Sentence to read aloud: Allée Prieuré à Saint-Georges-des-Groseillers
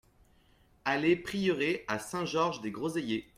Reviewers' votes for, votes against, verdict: 2, 0, accepted